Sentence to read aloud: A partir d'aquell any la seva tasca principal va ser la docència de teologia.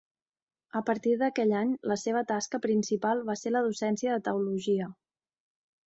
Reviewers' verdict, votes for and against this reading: accepted, 2, 0